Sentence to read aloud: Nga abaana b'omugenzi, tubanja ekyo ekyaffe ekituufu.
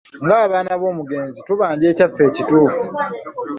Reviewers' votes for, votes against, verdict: 1, 2, rejected